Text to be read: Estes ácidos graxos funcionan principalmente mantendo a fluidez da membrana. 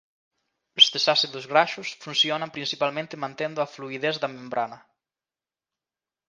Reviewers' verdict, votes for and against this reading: rejected, 0, 2